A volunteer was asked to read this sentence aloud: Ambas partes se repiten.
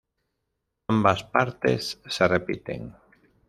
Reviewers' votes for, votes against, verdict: 1, 2, rejected